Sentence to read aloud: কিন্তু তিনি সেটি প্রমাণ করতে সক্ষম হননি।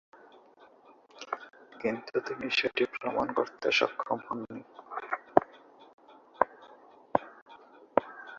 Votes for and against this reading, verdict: 0, 3, rejected